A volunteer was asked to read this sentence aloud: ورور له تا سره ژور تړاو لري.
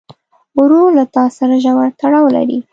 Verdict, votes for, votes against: accepted, 2, 0